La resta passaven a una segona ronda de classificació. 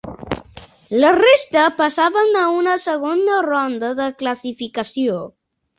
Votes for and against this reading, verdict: 2, 1, accepted